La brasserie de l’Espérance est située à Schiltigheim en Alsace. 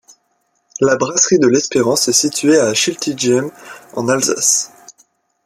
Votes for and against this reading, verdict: 1, 2, rejected